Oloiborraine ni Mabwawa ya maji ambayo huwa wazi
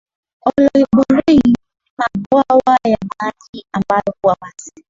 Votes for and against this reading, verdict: 1, 2, rejected